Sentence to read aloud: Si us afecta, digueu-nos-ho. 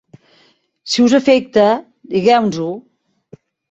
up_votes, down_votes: 0, 2